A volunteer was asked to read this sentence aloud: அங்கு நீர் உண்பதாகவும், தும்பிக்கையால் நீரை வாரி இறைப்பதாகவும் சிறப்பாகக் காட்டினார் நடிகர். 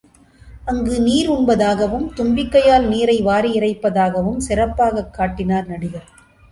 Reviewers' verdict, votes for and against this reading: accepted, 2, 0